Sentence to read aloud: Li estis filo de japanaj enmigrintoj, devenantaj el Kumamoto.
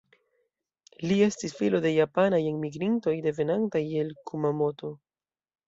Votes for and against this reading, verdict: 2, 0, accepted